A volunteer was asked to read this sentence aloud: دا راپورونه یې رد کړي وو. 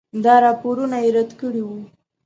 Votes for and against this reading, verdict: 2, 0, accepted